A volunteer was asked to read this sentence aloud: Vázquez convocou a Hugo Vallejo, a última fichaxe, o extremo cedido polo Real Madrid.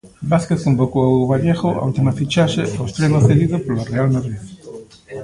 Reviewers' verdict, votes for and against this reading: rejected, 1, 2